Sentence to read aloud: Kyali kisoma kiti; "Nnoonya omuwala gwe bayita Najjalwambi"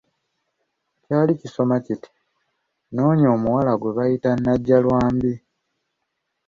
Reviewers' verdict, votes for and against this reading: accepted, 2, 0